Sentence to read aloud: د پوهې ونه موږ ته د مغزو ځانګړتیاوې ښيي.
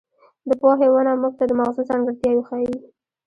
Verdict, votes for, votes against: rejected, 1, 2